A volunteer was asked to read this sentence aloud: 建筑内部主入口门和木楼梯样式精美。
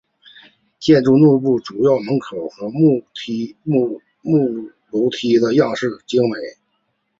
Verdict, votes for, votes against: accepted, 3, 2